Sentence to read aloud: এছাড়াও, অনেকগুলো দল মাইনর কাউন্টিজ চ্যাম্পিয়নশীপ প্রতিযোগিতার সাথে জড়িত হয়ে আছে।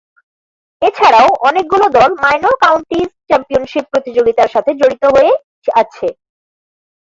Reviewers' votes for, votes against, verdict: 0, 2, rejected